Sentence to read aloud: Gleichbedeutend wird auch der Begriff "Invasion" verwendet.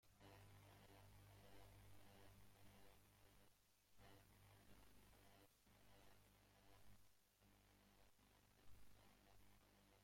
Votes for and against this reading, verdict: 0, 2, rejected